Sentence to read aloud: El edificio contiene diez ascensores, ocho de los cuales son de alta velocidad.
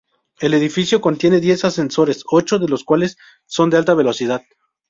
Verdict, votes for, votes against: rejected, 2, 2